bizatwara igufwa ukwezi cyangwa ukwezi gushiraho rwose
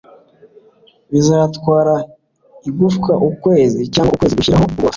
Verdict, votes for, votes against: rejected, 1, 2